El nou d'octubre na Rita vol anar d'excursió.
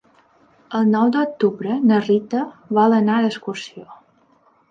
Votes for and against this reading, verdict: 3, 0, accepted